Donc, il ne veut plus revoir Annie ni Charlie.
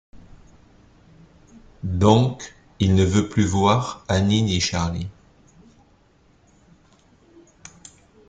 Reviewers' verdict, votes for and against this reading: rejected, 0, 2